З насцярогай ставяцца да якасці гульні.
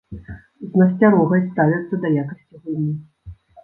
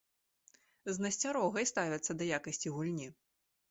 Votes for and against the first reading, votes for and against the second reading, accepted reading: 1, 2, 2, 0, second